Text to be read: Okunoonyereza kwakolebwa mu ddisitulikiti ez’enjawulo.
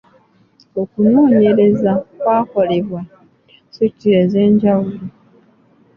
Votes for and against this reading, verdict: 0, 2, rejected